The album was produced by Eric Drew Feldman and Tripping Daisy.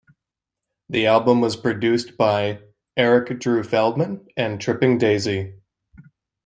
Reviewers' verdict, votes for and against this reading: rejected, 1, 2